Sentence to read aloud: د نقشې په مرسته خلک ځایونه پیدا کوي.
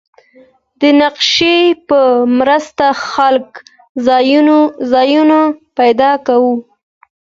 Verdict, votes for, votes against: accepted, 2, 1